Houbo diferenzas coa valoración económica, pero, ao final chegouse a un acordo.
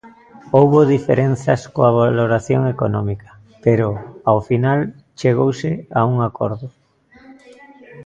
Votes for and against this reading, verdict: 0, 2, rejected